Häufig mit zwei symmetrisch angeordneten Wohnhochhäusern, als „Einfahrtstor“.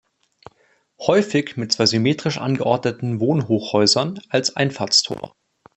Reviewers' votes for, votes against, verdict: 2, 0, accepted